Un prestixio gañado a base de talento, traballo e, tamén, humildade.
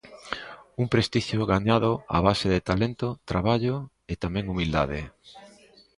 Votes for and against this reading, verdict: 2, 0, accepted